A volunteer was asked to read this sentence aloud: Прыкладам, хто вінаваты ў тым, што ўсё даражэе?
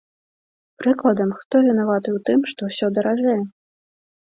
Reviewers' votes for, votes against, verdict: 2, 0, accepted